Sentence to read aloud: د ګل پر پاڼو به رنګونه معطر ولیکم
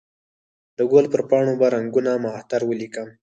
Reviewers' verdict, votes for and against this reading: rejected, 0, 4